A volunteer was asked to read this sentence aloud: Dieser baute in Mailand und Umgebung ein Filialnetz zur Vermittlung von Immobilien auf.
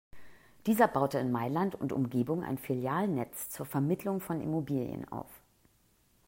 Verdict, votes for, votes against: accepted, 2, 0